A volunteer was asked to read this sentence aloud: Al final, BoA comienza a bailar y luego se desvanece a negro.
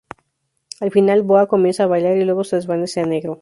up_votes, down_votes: 4, 0